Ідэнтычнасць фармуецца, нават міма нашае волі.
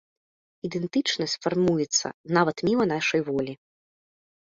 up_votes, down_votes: 0, 2